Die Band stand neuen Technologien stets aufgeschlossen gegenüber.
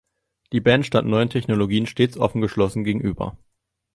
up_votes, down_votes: 0, 2